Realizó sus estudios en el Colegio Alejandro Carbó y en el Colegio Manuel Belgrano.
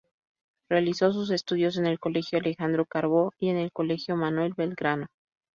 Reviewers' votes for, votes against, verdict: 2, 2, rejected